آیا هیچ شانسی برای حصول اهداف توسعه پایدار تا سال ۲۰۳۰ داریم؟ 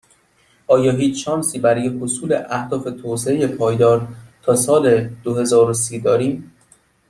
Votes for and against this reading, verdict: 0, 2, rejected